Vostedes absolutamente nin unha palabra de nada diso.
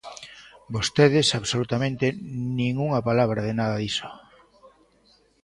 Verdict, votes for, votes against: accepted, 2, 0